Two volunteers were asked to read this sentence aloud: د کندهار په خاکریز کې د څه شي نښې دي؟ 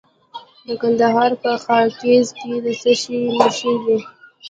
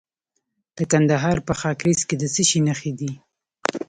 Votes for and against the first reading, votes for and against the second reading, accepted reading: 1, 2, 3, 0, second